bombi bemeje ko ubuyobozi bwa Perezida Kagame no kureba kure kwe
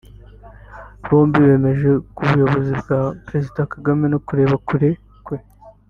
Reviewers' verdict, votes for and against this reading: rejected, 1, 2